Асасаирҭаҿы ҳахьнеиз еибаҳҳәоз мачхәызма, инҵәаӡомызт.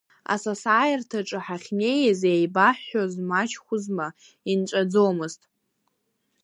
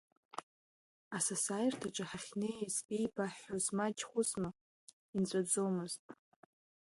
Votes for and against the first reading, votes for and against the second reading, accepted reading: 2, 0, 2, 3, first